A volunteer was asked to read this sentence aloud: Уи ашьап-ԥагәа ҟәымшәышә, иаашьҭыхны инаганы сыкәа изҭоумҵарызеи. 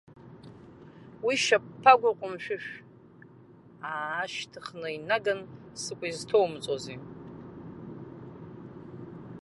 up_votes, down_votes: 1, 2